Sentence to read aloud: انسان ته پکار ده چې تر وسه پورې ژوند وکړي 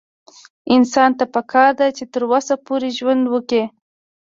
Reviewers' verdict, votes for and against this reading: accepted, 2, 0